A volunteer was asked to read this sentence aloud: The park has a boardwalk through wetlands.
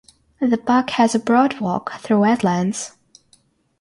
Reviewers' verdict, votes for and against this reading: rejected, 3, 6